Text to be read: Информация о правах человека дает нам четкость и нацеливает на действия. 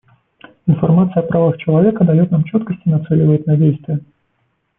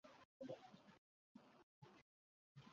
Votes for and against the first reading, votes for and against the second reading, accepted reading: 2, 1, 0, 2, first